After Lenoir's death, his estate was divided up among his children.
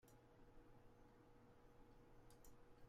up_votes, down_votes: 0, 2